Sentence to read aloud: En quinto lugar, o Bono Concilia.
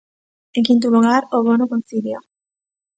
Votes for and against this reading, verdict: 2, 0, accepted